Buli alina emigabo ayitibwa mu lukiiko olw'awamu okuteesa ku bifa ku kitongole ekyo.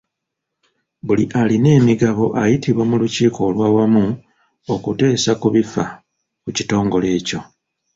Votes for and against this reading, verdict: 0, 2, rejected